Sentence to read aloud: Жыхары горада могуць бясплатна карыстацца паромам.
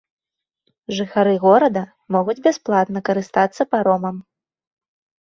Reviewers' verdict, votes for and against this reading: accepted, 2, 0